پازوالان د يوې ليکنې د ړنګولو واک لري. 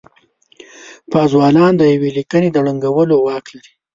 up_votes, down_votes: 2, 0